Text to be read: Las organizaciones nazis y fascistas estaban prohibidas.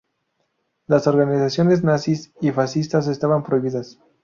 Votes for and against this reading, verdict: 2, 0, accepted